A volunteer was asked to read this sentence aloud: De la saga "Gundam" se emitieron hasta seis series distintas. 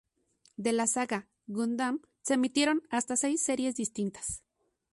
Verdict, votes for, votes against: accepted, 2, 0